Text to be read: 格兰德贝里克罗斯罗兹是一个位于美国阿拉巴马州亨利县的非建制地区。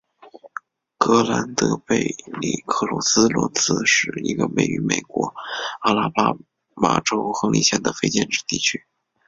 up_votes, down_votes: 2, 0